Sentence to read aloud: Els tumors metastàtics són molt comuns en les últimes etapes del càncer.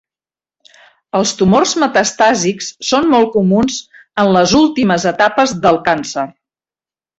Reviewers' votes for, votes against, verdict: 1, 2, rejected